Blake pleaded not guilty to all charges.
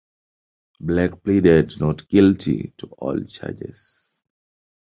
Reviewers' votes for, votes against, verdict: 2, 1, accepted